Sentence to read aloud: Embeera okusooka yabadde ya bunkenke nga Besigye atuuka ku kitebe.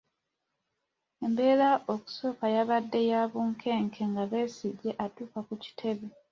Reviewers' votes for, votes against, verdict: 2, 0, accepted